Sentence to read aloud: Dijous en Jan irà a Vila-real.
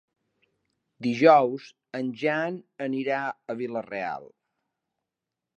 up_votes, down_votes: 0, 2